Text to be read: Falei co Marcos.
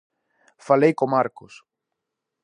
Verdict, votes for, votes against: accepted, 2, 0